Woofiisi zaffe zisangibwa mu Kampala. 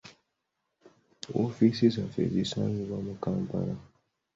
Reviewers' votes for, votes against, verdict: 3, 0, accepted